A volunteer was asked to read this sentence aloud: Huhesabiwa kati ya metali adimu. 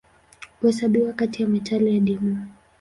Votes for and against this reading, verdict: 2, 0, accepted